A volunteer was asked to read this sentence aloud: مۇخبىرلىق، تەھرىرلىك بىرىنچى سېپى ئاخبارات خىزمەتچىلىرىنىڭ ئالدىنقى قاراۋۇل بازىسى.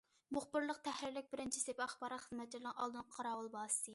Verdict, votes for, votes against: rejected, 1, 2